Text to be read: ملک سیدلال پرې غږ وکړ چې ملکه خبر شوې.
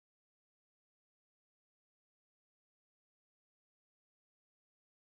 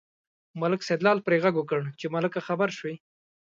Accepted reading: second